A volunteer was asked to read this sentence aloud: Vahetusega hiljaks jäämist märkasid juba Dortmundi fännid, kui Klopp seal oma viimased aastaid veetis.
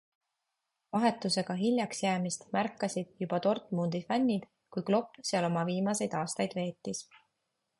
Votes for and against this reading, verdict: 2, 0, accepted